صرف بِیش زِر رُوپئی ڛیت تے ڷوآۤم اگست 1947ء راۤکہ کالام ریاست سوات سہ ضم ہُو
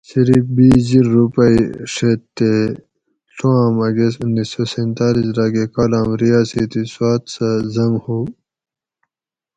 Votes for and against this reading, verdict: 0, 2, rejected